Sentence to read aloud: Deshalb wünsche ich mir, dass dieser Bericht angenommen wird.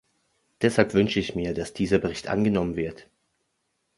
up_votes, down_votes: 3, 0